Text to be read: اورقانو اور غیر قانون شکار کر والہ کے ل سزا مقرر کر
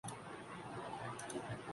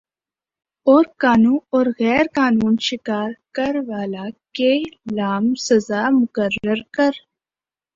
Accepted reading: second